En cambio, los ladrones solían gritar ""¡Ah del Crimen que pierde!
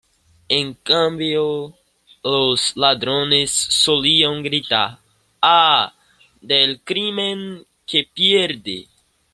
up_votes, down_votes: 2, 0